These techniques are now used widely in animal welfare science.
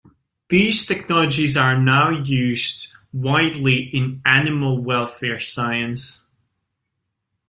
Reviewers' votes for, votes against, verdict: 0, 2, rejected